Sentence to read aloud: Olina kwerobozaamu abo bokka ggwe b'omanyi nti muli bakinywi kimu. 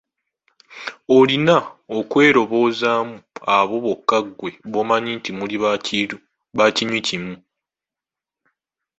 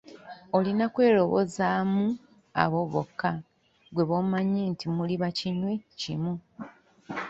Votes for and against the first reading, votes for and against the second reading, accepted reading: 0, 2, 2, 0, second